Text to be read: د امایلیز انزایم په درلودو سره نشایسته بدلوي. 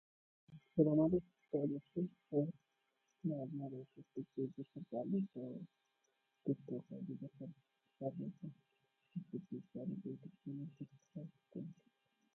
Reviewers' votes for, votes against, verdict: 1, 2, rejected